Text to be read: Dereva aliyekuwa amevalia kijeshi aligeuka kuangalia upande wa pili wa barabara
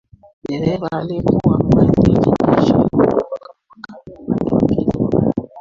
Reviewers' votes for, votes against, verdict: 0, 2, rejected